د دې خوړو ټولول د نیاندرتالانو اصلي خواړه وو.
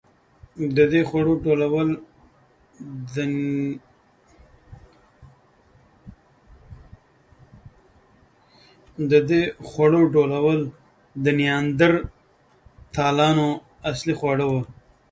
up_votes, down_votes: 0, 2